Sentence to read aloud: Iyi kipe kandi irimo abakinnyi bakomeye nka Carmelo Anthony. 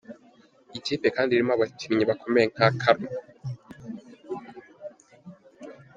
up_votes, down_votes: 1, 2